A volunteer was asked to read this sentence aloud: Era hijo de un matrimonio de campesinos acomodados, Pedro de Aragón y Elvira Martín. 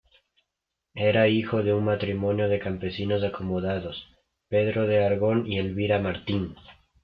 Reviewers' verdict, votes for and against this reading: rejected, 0, 2